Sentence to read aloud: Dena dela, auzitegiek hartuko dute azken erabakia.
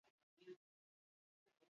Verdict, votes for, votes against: rejected, 0, 2